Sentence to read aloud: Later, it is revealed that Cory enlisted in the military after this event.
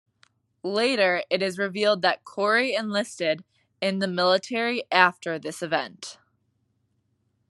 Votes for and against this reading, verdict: 2, 0, accepted